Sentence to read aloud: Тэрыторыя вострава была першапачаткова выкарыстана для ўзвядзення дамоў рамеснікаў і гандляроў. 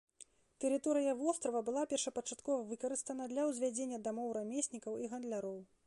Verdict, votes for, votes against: accepted, 2, 0